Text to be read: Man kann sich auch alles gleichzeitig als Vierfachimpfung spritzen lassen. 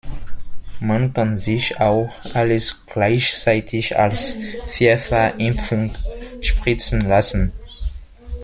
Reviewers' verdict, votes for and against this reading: rejected, 1, 2